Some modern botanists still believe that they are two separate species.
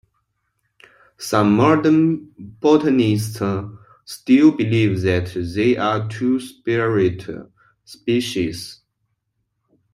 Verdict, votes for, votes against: rejected, 0, 2